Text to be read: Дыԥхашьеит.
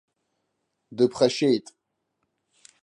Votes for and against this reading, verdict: 2, 0, accepted